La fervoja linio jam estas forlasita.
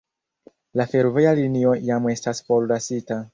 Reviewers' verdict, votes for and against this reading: accepted, 2, 0